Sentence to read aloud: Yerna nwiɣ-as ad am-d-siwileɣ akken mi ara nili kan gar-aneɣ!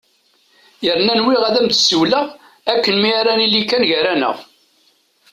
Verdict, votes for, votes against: accepted, 2, 0